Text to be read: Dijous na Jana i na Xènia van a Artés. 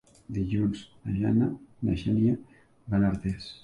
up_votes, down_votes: 1, 2